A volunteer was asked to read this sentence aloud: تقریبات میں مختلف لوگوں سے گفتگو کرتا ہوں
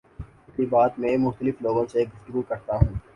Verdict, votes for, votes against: accepted, 2, 0